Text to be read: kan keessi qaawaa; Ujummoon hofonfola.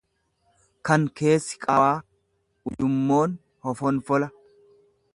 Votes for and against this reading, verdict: 2, 0, accepted